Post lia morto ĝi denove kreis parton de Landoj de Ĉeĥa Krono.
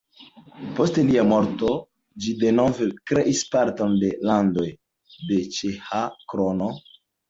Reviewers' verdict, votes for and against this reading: rejected, 1, 2